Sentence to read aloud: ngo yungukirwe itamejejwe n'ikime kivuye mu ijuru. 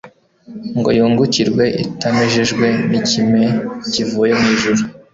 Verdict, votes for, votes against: accepted, 2, 0